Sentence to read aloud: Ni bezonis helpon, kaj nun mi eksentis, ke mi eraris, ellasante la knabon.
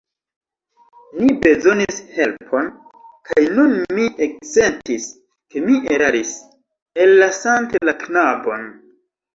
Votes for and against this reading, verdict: 1, 2, rejected